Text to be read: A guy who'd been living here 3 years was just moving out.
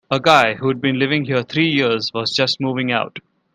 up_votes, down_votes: 0, 2